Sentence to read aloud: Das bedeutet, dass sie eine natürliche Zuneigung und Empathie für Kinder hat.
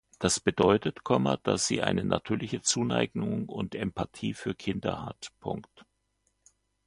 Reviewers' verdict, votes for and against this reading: rejected, 1, 2